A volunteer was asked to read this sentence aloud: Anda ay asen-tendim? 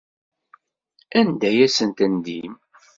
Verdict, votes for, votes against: accepted, 2, 0